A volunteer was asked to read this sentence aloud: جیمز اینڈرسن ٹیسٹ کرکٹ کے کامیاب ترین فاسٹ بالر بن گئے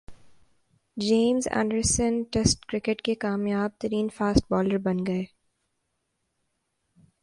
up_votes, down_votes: 2, 0